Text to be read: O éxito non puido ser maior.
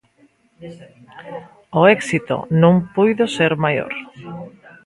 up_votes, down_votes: 2, 0